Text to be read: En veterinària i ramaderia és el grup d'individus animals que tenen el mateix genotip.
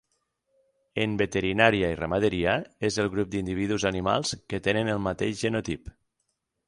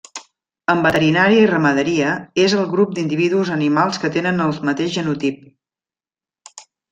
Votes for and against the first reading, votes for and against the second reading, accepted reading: 6, 0, 1, 2, first